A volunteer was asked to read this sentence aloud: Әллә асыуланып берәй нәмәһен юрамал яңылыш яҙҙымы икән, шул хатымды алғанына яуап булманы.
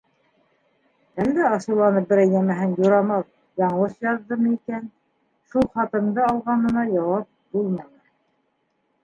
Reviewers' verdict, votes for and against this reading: rejected, 0, 2